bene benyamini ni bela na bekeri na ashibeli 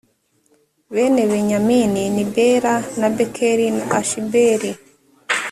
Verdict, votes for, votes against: accepted, 2, 0